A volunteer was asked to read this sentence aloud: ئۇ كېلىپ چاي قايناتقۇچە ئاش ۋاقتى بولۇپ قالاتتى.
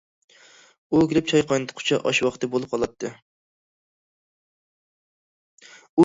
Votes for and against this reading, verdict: 1, 2, rejected